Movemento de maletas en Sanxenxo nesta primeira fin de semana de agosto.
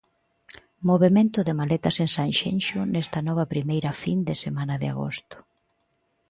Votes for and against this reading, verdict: 0, 2, rejected